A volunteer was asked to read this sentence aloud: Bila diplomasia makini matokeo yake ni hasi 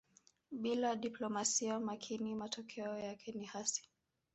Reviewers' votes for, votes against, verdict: 3, 0, accepted